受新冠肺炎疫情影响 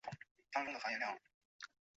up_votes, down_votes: 0, 4